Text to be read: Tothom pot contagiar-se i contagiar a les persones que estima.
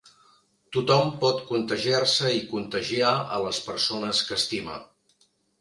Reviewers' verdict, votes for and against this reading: accepted, 3, 0